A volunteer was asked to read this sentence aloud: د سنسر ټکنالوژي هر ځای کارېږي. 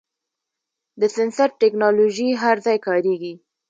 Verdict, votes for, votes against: rejected, 1, 2